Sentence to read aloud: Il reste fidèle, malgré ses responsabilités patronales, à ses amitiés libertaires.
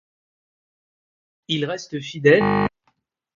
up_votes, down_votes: 0, 2